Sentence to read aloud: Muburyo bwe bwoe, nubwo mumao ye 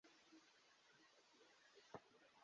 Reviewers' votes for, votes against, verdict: 0, 2, rejected